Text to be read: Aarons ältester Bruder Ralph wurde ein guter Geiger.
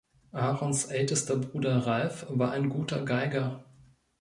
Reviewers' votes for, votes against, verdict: 0, 2, rejected